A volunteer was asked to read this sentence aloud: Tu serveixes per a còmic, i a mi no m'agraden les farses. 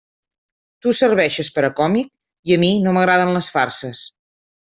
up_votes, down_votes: 3, 0